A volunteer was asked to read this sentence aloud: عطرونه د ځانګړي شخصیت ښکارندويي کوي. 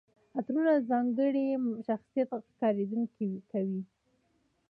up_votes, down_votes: 1, 2